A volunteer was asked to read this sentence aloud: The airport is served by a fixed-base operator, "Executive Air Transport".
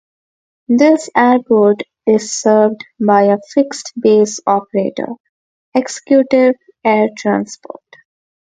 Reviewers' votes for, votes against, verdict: 2, 0, accepted